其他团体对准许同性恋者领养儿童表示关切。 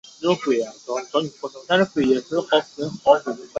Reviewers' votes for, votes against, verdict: 0, 3, rejected